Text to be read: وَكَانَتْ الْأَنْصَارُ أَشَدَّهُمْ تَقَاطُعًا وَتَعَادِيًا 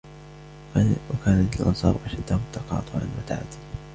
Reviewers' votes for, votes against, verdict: 3, 1, accepted